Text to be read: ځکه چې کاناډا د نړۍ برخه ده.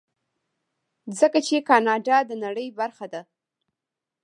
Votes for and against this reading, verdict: 1, 2, rejected